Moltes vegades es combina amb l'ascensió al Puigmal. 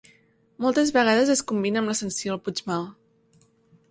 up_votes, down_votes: 2, 0